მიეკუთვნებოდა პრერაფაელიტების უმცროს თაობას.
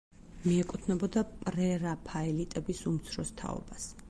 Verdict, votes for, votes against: accepted, 4, 2